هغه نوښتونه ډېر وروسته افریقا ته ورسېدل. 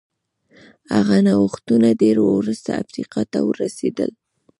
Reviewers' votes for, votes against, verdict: 0, 2, rejected